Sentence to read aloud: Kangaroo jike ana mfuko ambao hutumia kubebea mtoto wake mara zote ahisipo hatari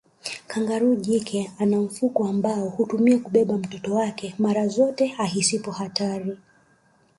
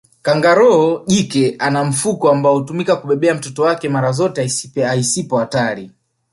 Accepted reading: first